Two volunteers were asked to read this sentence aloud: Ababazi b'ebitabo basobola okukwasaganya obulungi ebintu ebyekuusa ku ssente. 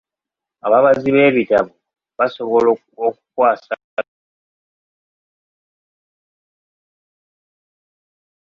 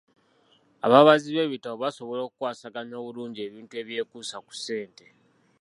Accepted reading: second